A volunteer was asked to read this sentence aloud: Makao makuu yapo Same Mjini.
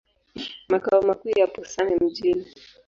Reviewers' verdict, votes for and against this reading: accepted, 2, 0